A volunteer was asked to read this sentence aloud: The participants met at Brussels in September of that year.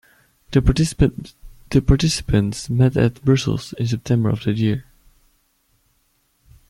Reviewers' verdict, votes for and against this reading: rejected, 1, 2